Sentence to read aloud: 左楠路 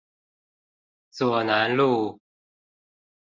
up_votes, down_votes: 2, 0